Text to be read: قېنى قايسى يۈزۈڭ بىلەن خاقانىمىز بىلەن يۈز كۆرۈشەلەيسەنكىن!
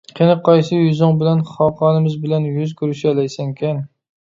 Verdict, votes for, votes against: accepted, 2, 0